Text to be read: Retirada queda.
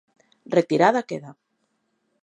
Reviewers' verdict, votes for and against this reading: accepted, 2, 0